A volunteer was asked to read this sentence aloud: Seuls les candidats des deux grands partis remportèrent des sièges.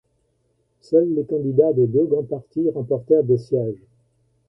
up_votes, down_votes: 2, 1